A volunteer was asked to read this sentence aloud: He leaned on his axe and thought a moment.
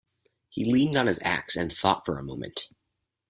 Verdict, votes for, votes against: rejected, 0, 4